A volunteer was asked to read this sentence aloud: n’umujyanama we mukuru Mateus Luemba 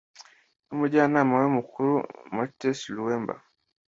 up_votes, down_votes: 2, 0